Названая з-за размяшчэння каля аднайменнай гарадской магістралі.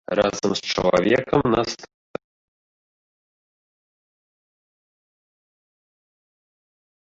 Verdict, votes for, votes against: rejected, 0, 2